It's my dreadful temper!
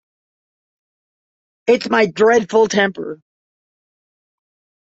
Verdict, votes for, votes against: accepted, 2, 0